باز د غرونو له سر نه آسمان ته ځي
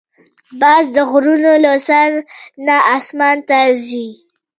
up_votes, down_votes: 2, 1